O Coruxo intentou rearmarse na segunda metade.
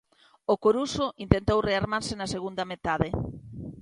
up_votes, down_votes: 2, 0